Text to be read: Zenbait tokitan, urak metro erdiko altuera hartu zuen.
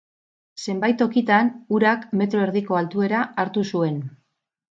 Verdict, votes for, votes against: rejected, 2, 2